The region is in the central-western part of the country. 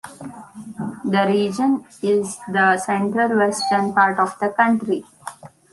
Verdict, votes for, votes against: rejected, 0, 2